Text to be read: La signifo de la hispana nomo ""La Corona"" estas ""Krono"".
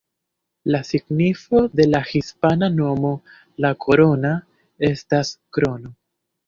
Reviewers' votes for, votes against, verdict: 1, 2, rejected